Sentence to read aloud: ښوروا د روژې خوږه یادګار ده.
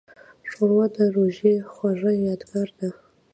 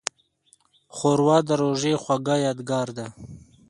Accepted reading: second